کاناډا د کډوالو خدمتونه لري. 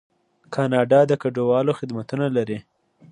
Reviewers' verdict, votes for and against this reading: accepted, 2, 0